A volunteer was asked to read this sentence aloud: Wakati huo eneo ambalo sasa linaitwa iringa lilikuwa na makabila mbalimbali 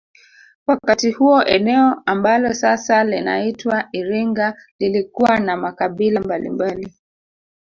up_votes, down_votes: 2, 1